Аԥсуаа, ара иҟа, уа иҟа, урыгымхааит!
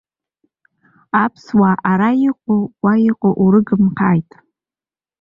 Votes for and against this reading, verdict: 1, 2, rejected